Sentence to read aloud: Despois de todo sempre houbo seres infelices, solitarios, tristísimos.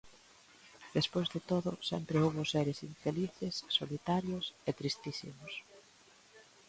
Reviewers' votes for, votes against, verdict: 0, 2, rejected